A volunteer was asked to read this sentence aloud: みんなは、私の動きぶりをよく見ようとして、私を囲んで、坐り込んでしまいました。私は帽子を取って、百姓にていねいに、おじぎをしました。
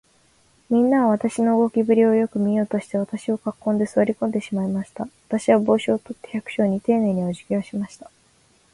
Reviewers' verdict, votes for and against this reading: accepted, 3, 1